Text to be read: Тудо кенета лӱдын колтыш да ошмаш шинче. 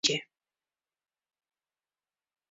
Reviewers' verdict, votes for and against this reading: rejected, 0, 2